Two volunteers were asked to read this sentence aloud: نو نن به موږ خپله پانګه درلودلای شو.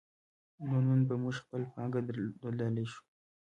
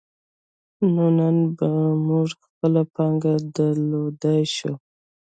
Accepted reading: second